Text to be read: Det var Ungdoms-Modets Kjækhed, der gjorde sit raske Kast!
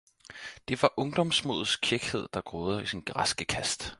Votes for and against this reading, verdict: 2, 4, rejected